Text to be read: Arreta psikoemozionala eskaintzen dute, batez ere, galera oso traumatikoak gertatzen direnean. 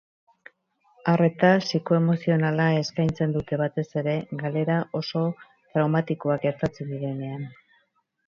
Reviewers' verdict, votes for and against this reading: rejected, 2, 2